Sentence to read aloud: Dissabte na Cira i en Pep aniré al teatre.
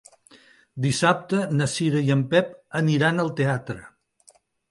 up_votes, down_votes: 0, 2